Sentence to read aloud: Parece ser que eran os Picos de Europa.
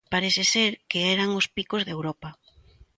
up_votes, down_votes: 2, 0